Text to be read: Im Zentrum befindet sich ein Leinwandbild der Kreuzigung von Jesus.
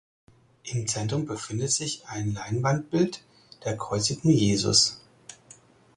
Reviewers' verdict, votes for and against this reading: rejected, 2, 4